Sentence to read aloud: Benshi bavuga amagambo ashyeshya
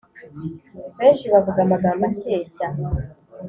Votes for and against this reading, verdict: 2, 0, accepted